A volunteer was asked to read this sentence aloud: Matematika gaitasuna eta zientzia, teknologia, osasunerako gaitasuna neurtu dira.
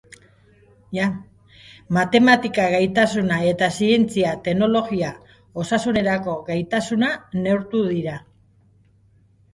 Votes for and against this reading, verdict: 2, 2, rejected